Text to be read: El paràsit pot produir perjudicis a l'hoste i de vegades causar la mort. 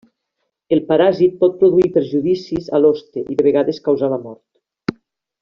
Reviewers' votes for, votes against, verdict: 0, 2, rejected